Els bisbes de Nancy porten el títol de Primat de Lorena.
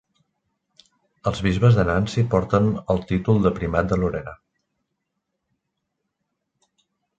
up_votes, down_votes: 1, 2